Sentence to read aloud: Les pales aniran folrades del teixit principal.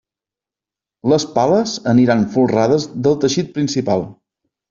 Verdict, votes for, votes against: accepted, 3, 0